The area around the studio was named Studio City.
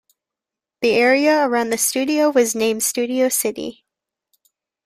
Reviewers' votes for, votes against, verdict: 2, 0, accepted